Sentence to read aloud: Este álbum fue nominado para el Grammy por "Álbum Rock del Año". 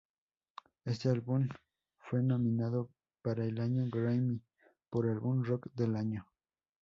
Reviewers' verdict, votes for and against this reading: rejected, 0, 4